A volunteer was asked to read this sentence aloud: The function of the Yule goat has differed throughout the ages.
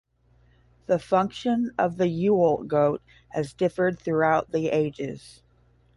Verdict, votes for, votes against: accepted, 10, 0